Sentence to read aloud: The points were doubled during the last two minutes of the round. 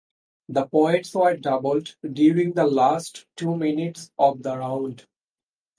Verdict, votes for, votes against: accepted, 2, 0